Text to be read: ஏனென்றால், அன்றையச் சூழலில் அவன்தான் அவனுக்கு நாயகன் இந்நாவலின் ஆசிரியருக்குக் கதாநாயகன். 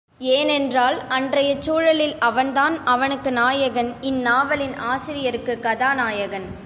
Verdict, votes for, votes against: accepted, 2, 0